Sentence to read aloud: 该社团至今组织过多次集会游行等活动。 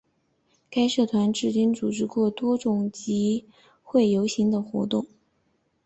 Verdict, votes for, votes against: accepted, 3, 1